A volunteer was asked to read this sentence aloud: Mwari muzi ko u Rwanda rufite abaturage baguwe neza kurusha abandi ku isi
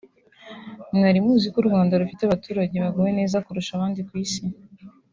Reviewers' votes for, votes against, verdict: 2, 0, accepted